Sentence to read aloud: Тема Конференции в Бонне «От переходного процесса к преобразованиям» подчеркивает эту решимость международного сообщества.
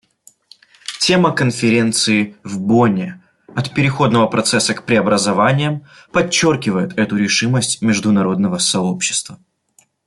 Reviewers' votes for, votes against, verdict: 2, 0, accepted